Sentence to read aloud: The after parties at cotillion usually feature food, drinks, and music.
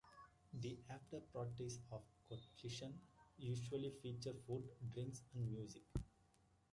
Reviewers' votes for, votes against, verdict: 0, 2, rejected